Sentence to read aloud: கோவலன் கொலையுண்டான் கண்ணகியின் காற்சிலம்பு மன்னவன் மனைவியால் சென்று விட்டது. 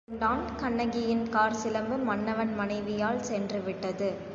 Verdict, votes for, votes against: rejected, 1, 2